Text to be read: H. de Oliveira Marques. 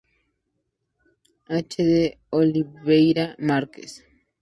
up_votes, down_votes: 2, 0